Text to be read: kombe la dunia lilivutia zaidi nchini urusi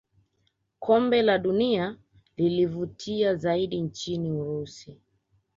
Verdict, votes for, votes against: rejected, 0, 2